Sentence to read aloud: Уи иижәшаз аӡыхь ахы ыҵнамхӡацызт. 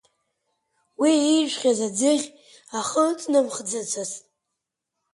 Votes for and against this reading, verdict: 3, 4, rejected